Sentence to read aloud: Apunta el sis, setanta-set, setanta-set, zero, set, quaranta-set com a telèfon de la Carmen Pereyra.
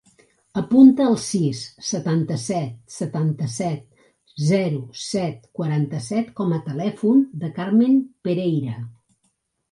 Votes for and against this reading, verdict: 0, 2, rejected